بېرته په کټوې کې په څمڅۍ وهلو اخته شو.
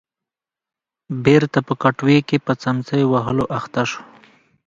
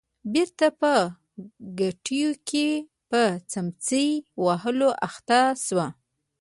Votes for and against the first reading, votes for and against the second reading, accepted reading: 2, 1, 1, 2, first